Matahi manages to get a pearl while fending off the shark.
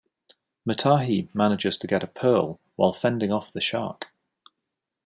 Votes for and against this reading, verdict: 2, 0, accepted